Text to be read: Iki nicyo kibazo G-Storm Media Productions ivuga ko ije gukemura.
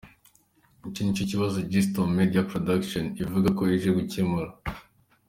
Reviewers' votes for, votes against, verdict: 2, 0, accepted